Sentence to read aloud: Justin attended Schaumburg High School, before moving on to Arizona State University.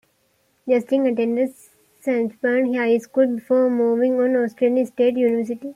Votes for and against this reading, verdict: 2, 1, accepted